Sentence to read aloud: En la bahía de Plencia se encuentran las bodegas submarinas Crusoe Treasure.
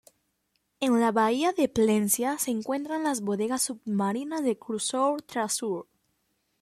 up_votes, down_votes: 0, 2